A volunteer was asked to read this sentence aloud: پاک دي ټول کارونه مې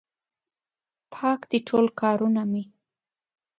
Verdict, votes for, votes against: accepted, 2, 0